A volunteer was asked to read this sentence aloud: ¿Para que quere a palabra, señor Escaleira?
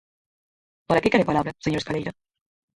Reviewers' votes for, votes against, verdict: 0, 4, rejected